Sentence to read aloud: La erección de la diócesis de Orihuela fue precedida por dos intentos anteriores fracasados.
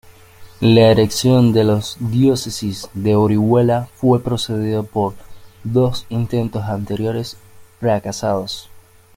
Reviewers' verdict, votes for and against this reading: accepted, 2, 1